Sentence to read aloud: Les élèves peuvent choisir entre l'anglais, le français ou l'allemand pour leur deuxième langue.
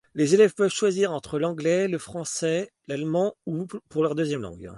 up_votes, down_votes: 1, 2